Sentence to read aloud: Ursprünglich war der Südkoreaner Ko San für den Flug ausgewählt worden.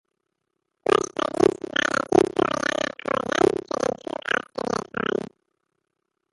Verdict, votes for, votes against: rejected, 0, 2